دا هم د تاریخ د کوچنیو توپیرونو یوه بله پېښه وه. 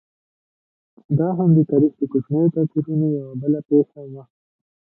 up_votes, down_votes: 2, 1